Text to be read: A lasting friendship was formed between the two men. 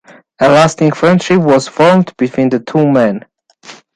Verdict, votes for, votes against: rejected, 1, 2